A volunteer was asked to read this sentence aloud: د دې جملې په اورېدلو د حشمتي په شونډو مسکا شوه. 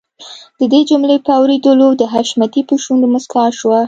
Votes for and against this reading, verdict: 2, 0, accepted